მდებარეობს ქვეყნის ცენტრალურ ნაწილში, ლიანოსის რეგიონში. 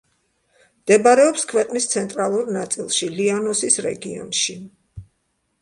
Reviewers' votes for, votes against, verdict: 2, 0, accepted